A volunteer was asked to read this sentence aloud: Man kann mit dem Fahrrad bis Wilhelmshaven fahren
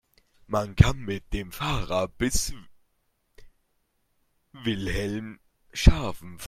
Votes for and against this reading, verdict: 0, 2, rejected